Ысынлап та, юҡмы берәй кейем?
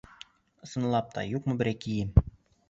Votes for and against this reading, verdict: 2, 0, accepted